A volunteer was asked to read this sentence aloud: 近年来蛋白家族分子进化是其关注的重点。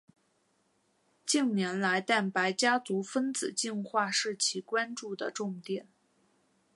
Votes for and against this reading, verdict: 4, 0, accepted